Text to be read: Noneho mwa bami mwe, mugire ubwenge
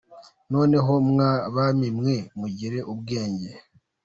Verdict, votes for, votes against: rejected, 1, 2